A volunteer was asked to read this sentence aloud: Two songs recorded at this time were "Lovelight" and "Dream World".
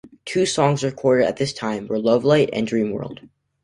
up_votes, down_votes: 2, 1